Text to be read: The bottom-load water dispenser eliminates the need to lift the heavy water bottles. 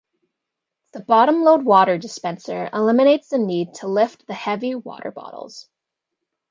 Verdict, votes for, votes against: accepted, 2, 0